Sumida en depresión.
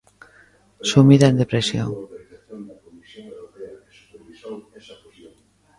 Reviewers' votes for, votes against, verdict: 0, 2, rejected